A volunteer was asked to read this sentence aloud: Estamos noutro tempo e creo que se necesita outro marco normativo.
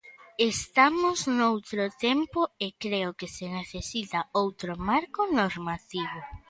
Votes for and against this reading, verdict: 2, 1, accepted